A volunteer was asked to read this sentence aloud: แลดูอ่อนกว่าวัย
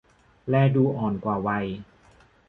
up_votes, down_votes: 2, 0